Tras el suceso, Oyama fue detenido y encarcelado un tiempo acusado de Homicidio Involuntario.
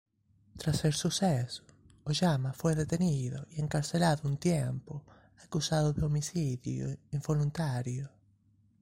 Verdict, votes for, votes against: rejected, 0, 2